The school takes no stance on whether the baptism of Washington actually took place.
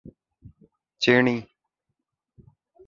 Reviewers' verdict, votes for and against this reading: rejected, 0, 2